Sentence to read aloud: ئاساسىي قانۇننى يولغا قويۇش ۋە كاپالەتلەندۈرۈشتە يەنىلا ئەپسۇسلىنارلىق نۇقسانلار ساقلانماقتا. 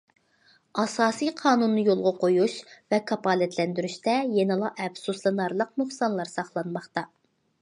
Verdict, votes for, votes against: accepted, 2, 0